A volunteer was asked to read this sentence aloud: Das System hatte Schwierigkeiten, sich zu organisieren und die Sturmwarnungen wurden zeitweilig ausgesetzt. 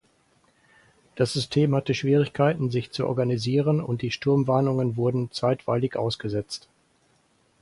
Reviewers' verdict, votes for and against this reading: accepted, 4, 0